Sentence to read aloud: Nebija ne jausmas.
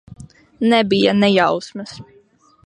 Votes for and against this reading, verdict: 2, 0, accepted